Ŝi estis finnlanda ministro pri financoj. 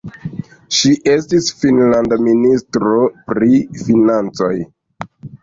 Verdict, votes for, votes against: accepted, 2, 0